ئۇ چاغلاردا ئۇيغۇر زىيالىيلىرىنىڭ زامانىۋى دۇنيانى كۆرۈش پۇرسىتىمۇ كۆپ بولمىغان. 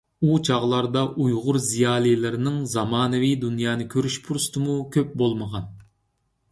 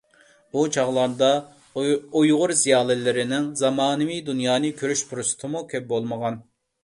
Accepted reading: first